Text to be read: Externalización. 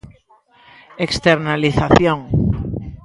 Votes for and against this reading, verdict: 2, 0, accepted